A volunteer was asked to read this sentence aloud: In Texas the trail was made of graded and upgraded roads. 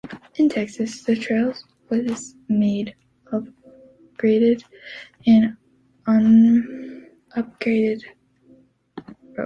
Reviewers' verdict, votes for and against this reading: rejected, 0, 2